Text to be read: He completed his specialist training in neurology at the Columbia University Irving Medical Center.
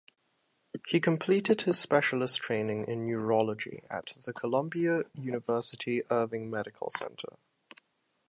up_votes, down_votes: 2, 0